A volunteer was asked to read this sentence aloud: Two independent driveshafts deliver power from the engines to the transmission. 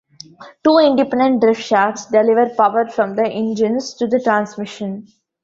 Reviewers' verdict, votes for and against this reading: rejected, 1, 2